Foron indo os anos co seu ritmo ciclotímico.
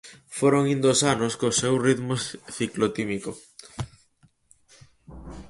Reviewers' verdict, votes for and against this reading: rejected, 0, 4